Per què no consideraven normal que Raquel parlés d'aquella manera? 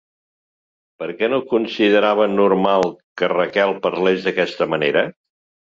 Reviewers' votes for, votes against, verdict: 0, 2, rejected